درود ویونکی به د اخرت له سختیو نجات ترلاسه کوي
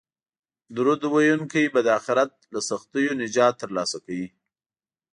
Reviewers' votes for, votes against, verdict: 2, 0, accepted